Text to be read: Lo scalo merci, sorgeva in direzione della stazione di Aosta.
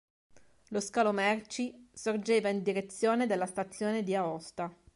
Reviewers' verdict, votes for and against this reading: accepted, 2, 0